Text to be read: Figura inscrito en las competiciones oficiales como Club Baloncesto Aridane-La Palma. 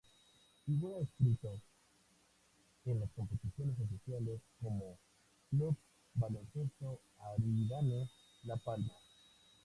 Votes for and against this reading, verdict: 0, 2, rejected